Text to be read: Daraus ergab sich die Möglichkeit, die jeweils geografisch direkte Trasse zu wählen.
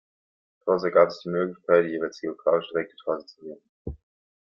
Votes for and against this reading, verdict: 1, 2, rejected